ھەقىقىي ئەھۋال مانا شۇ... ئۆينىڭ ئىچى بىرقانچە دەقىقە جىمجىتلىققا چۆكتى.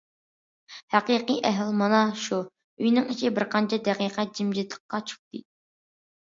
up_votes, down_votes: 2, 0